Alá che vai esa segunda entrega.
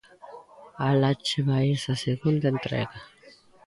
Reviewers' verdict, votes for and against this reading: accepted, 3, 0